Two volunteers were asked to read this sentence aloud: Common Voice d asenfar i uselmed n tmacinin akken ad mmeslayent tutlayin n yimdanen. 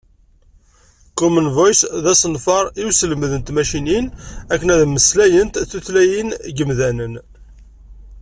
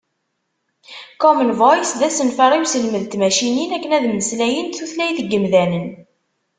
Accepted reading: first